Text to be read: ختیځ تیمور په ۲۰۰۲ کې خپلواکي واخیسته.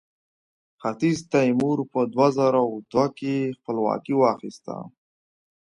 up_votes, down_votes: 0, 2